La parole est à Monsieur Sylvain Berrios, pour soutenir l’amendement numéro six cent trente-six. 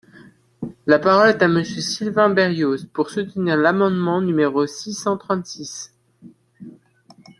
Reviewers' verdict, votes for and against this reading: accepted, 2, 1